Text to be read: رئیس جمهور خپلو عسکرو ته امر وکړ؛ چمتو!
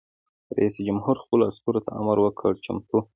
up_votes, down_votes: 2, 0